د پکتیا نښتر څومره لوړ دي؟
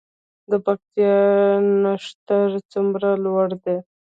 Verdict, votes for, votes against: rejected, 1, 2